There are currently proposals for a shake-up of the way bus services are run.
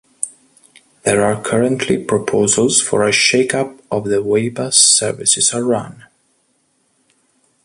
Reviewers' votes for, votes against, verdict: 2, 0, accepted